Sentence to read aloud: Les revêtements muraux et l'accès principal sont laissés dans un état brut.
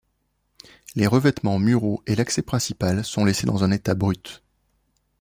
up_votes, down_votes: 2, 0